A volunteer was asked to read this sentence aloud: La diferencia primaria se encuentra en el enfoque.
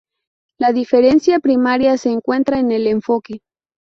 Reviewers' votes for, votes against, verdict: 2, 0, accepted